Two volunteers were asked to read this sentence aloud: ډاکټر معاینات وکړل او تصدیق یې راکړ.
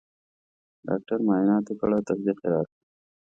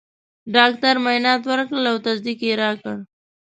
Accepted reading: first